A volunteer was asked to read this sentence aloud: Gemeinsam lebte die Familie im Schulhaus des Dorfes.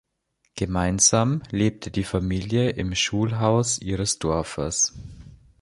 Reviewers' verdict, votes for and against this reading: rejected, 0, 2